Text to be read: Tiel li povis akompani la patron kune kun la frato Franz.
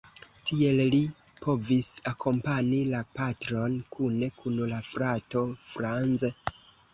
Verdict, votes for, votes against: accepted, 2, 0